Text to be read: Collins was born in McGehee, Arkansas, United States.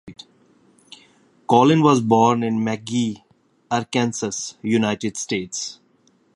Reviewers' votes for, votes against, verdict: 0, 2, rejected